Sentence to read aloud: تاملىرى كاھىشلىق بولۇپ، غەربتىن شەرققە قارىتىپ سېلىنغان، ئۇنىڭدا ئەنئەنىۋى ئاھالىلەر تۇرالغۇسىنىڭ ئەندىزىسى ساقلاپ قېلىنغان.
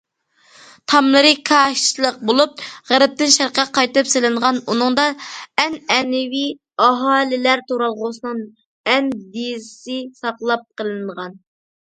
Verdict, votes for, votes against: accepted, 2, 0